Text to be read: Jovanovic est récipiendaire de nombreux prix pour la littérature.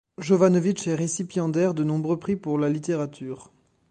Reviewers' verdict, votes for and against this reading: accepted, 2, 0